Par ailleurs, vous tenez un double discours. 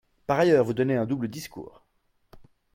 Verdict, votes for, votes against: rejected, 0, 2